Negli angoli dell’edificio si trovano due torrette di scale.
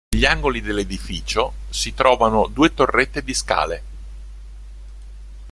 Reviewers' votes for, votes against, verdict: 1, 2, rejected